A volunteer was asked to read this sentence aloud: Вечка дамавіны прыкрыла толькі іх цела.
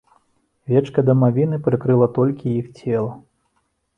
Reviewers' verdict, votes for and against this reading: accepted, 2, 0